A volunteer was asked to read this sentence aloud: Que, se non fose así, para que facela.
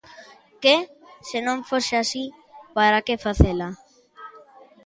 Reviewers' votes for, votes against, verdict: 2, 0, accepted